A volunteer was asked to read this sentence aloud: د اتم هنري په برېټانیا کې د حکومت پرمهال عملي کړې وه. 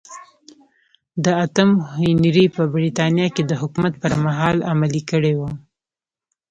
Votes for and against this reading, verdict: 2, 0, accepted